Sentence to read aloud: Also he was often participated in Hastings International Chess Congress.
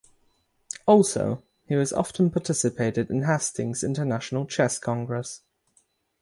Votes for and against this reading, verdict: 3, 3, rejected